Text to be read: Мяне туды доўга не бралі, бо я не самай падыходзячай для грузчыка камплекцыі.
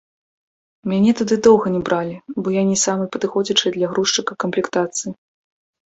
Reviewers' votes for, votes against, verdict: 0, 2, rejected